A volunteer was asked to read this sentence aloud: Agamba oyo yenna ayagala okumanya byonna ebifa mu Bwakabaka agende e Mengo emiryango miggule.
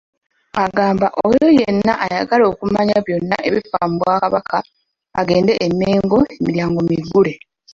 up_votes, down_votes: 2, 1